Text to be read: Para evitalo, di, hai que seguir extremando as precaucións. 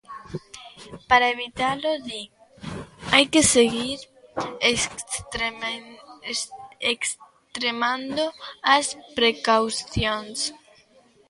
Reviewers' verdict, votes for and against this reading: rejected, 0, 2